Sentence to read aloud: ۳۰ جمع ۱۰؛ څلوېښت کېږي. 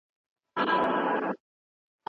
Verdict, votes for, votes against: rejected, 0, 2